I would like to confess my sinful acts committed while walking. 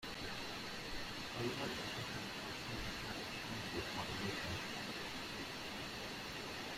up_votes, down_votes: 0, 2